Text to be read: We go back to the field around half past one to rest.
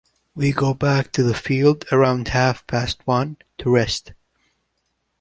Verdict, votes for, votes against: accepted, 2, 0